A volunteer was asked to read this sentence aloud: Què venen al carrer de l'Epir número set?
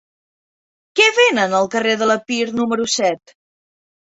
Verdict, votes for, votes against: accepted, 2, 0